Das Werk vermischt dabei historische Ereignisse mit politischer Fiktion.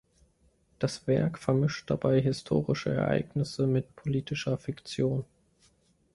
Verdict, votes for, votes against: accepted, 3, 0